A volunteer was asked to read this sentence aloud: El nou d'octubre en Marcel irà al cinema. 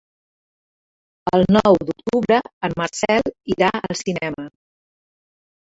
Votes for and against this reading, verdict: 5, 2, accepted